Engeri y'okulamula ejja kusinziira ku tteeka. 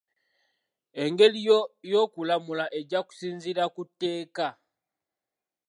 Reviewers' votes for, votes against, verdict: 0, 2, rejected